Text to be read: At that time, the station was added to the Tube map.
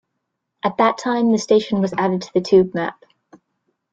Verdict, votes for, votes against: rejected, 0, 2